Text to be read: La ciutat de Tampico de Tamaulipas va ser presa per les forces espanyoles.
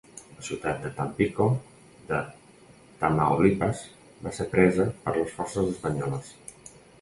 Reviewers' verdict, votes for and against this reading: accepted, 2, 0